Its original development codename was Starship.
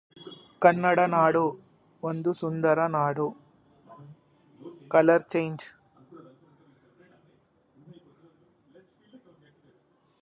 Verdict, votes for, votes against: rejected, 1, 2